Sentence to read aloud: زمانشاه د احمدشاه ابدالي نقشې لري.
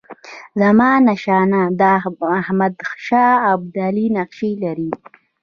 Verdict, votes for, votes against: accepted, 2, 1